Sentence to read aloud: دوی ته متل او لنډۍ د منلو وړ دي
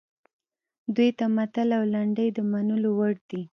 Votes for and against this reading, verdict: 2, 0, accepted